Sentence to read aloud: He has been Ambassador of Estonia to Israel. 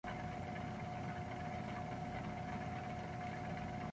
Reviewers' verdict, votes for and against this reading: rejected, 0, 2